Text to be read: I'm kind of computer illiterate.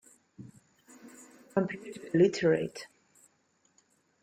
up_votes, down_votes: 0, 2